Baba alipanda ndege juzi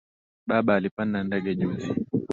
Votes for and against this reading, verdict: 2, 0, accepted